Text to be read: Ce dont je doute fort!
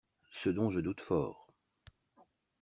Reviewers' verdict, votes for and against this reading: accepted, 2, 0